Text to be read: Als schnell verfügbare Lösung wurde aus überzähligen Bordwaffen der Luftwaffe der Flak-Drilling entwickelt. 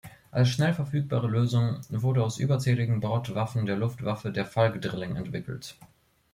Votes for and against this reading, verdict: 1, 2, rejected